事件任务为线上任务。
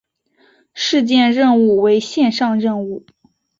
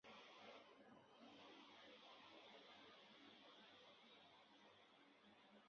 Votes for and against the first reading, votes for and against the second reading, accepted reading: 5, 0, 0, 3, first